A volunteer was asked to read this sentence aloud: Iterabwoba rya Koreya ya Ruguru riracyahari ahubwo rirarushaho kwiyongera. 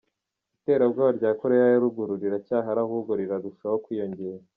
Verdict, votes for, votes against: accepted, 2, 0